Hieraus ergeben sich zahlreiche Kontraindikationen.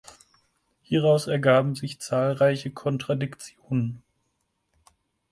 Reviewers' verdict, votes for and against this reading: rejected, 2, 4